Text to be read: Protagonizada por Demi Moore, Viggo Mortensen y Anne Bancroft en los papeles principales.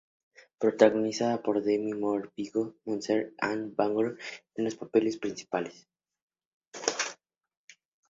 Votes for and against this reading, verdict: 0, 4, rejected